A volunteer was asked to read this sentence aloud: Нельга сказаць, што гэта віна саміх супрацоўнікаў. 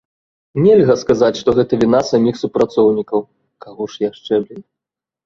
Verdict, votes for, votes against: rejected, 0, 2